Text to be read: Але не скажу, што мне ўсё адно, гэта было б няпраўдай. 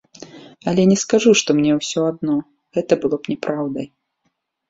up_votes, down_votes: 2, 0